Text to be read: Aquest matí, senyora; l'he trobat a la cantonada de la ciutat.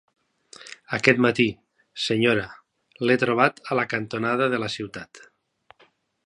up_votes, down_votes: 4, 0